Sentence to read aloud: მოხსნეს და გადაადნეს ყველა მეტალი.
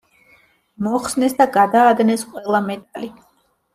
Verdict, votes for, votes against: rejected, 1, 2